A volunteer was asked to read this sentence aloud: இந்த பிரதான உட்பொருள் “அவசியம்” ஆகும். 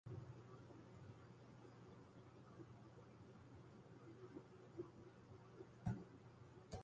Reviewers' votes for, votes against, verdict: 0, 2, rejected